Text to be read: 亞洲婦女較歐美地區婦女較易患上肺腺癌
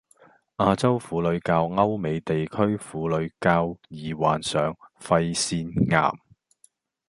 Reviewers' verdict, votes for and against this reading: accepted, 2, 0